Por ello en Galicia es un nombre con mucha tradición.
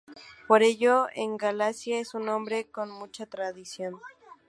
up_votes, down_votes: 0, 2